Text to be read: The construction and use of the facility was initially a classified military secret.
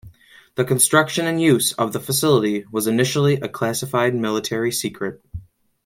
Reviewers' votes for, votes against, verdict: 2, 0, accepted